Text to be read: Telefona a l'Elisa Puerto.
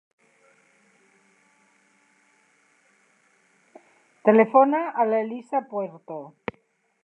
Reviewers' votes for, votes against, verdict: 3, 0, accepted